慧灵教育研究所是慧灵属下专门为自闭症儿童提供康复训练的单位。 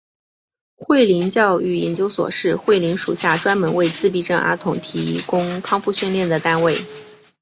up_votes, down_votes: 4, 1